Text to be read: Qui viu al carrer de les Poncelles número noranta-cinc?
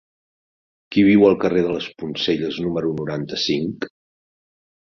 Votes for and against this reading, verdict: 3, 0, accepted